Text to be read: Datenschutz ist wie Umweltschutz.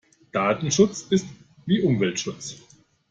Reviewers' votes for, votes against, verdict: 2, 0, accepted